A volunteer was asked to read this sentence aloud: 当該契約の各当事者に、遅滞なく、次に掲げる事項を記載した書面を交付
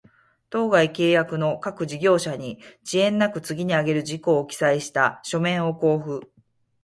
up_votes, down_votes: 2, 4